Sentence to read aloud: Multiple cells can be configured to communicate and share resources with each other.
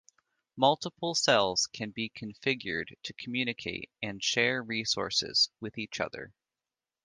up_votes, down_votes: 2, 0